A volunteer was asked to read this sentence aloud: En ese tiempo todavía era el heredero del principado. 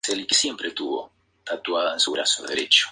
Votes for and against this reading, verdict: 0, 4, rejected